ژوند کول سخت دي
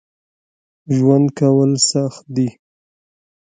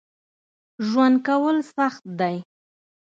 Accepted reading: first